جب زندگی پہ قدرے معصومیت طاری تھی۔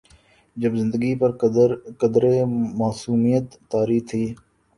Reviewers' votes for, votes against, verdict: 1, 2, rejected